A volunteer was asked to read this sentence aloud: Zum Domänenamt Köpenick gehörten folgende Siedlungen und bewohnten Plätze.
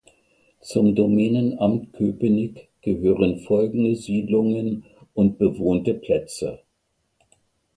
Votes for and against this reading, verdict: 0, 2, rejected